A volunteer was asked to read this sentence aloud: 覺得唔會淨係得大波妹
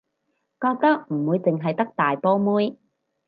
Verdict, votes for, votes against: accepted, 4, 0